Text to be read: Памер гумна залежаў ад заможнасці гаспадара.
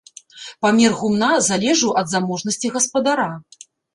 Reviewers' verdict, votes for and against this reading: rejected, 0, 2